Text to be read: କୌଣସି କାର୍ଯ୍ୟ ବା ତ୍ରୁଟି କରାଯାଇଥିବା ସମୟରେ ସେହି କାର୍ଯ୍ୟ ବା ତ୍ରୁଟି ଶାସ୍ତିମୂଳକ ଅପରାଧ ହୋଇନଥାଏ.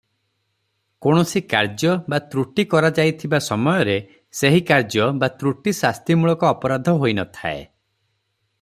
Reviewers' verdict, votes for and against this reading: accepted, 3, 0